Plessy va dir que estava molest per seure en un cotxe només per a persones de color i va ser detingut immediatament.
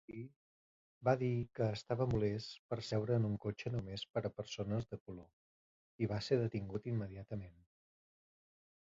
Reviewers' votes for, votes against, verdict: 0, 2, rejected